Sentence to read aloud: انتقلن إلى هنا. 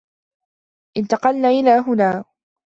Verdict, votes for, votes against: rejected, 0, 2